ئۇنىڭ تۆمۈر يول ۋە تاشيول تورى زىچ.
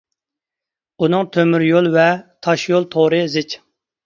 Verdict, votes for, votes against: accepted, 2, 0